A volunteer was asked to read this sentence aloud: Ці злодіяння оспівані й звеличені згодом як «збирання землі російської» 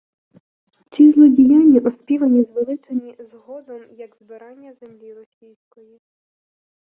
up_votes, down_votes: 0, 2